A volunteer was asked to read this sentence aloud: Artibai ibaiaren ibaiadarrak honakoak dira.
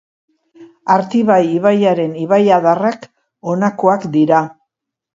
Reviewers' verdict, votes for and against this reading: accepted, 2, 0